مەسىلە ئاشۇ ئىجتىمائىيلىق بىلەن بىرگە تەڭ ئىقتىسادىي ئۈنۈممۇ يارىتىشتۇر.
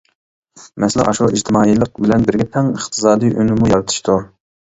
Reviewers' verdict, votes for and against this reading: rejected, 1, 2